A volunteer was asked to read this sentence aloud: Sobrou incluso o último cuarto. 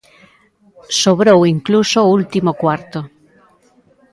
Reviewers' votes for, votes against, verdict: 2, 0, accepted